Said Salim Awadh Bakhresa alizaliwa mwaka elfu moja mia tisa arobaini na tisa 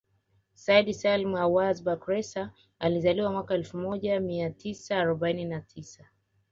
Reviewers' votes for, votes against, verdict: 2, 0, accepted